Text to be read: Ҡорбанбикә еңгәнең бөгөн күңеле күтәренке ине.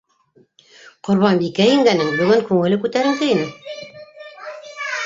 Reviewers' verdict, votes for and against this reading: rejected, 0, 2